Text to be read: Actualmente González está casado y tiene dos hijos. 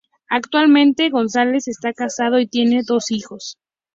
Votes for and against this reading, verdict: 2, 0, accepted